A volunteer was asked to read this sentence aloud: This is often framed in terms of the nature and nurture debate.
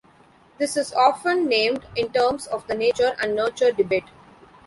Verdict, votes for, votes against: rejected, 0, 2